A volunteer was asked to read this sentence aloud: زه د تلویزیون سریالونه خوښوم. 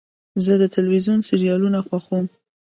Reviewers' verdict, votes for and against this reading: accepted, 2, 0